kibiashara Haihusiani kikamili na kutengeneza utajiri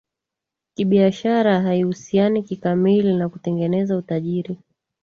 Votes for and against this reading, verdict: 2, 0, accepted